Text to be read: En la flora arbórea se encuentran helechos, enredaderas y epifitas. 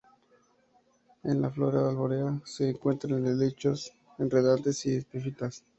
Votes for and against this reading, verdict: 0, 2, rejected